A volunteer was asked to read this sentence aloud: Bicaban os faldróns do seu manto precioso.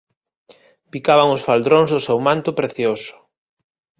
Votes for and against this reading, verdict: 2, 1, accepted